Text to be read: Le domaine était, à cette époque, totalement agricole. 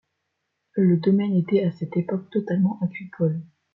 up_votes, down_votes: 2, 0